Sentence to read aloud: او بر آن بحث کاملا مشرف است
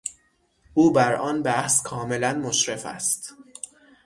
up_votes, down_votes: 6, 0